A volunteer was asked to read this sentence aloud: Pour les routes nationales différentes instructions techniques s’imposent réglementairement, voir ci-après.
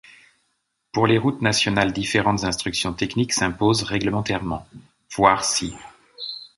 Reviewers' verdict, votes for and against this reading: rejected, 0, 2